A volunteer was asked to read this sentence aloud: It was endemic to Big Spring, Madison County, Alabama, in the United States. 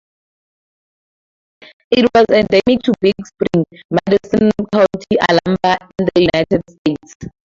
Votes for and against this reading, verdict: 0, 2, rejected